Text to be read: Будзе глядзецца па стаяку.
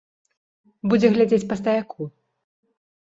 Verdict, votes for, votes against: rejected, 1, 2